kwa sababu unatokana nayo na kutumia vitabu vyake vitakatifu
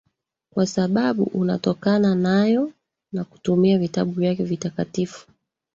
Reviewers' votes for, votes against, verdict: 0, 2, rejected